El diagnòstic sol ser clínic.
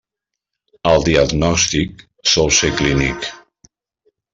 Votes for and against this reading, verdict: 3, 0, accepted